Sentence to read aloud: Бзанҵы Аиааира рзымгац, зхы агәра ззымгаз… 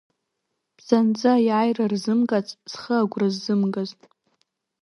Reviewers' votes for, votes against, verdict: 2, 0, accepted